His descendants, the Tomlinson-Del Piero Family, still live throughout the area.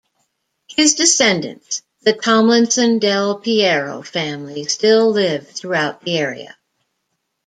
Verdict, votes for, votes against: accepted, 2, 0